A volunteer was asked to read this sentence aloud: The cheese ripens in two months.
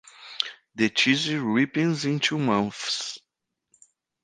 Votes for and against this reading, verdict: 1, 2, rejected